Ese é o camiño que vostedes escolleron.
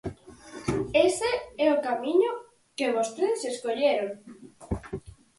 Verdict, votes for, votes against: accepted, 4, 0